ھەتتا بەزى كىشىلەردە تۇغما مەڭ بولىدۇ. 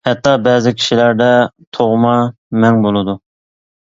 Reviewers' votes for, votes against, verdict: 2, 0, accepted